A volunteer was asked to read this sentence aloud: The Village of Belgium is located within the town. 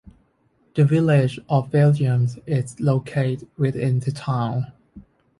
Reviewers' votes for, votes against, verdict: 0, 2, rejected